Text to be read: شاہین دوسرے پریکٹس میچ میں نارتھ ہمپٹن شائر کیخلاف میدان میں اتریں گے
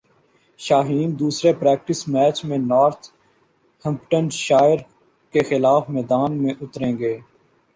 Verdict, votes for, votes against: accepted, 2, 0